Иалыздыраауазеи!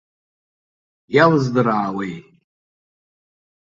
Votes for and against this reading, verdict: 0, 2, rejected